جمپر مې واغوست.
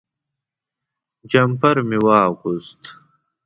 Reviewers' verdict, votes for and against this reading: accepted, 2, 0